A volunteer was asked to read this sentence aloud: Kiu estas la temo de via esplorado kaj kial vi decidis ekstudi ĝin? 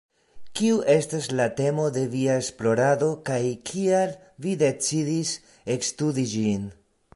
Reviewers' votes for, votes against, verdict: 2, 0, accepted